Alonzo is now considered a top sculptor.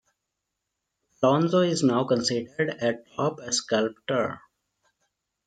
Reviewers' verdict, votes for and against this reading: rejected, 0, 2